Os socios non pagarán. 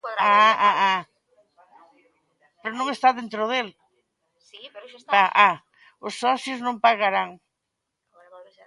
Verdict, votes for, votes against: rejected, 0, 2